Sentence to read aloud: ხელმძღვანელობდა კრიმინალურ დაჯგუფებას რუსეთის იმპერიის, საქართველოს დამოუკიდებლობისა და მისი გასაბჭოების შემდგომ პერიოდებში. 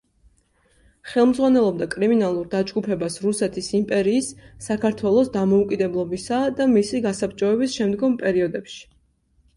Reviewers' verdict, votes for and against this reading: accepted, 2, 0